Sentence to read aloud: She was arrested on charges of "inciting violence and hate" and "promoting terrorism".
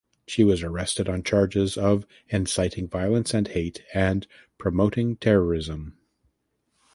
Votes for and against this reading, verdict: 2, 0, accepted